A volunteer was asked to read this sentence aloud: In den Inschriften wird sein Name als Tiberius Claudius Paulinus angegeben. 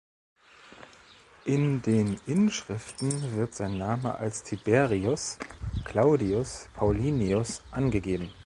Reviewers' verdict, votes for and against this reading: rejected, 1, 2